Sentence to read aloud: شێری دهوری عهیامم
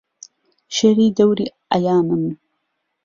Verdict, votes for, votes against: accepted, 2, 0